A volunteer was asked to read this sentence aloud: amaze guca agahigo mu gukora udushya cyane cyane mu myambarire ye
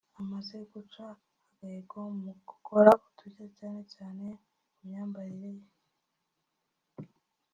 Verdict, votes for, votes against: rejected, 0, 2